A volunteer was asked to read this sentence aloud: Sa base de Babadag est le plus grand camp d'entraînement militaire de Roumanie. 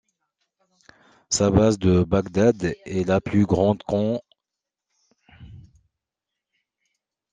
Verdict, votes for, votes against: rejected, 0, 2